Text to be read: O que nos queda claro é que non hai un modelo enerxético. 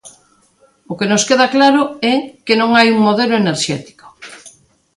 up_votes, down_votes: 2, 0